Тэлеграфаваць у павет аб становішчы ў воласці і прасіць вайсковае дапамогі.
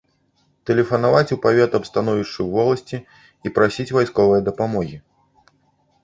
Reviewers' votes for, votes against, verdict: 0, 2, rejected